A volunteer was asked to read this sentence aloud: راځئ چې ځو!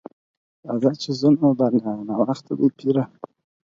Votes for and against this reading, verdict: 2, 4, rejected